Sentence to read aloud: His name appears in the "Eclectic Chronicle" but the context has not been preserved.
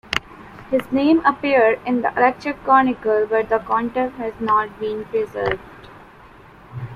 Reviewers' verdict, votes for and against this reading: rejected, 1, 2